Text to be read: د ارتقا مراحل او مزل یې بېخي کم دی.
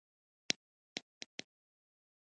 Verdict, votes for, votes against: rejected, 0, 2